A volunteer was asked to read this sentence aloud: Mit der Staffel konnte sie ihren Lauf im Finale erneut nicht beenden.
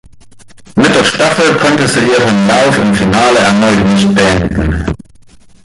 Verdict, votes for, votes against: rejected, 1, 2